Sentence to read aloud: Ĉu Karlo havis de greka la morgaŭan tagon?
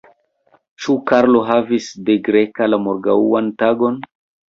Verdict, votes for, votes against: rejected, 1, 3